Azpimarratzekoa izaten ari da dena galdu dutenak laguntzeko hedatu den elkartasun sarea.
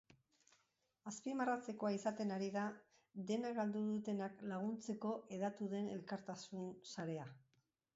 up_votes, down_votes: 0, 2